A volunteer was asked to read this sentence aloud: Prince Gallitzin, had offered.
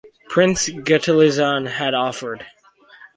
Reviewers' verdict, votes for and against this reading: rejected, 0, 2